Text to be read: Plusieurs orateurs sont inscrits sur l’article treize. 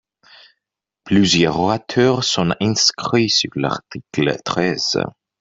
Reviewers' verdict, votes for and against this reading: rejected, 0, 3